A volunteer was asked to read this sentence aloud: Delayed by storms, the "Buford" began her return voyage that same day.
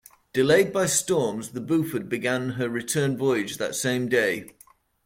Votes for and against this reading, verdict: 2, 0, accepted